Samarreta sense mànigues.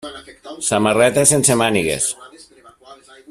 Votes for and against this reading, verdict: 1, 2, rejected